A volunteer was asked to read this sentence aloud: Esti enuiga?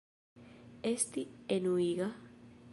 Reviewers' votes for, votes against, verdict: 2, 0, accepted